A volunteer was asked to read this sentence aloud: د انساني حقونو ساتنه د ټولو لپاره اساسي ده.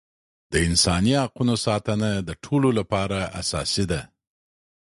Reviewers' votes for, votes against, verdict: 2, 0, accepted